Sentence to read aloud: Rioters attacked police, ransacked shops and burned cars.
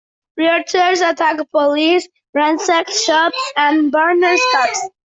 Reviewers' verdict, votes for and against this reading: rejected, 0, 2